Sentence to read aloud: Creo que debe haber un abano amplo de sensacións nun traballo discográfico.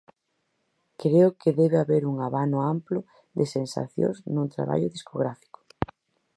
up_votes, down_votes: 4, 0